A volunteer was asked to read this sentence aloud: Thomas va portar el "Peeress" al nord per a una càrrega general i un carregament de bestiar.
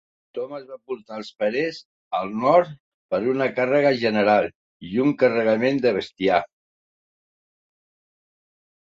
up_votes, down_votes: 1, 2